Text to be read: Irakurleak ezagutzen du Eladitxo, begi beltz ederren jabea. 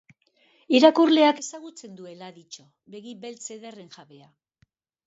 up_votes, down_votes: 0, 2